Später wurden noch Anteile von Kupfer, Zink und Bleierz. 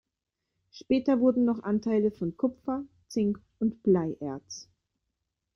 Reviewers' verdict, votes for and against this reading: accepted, 3, 0